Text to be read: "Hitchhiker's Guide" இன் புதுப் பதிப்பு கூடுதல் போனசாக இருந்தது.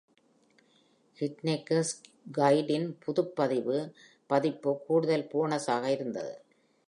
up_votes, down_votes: 1, 2